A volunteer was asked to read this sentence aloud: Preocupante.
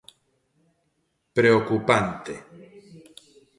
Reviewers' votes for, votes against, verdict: 2, 1, accepted